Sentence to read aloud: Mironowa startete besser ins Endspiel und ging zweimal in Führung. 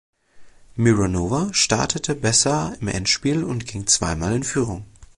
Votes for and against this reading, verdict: 0, 2, rejected